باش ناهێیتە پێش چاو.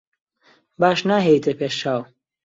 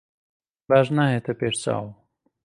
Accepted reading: first